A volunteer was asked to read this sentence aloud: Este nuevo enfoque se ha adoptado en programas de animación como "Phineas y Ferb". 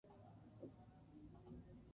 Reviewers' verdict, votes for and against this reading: rejected, 0, 2